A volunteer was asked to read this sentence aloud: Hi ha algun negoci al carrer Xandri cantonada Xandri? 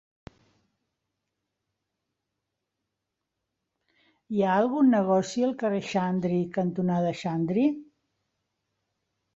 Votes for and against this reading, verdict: 2, 0, accepted